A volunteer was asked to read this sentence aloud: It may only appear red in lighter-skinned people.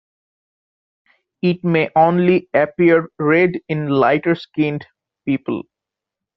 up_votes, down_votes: 2, 0